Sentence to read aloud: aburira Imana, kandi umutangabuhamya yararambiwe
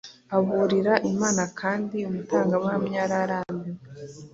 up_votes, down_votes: 2, 0